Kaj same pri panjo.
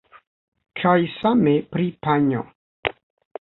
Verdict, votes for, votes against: accepted, 2, 0